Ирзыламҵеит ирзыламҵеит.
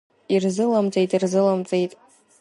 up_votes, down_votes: 2, 0